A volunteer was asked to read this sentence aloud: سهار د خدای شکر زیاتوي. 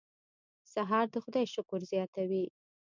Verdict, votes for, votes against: accepted, 3, 0